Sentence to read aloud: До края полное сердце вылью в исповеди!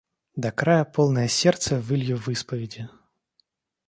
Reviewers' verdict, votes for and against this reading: accepted, 2, 0